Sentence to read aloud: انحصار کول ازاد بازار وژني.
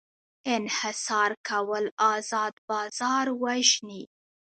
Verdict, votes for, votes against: rejected, 0, 2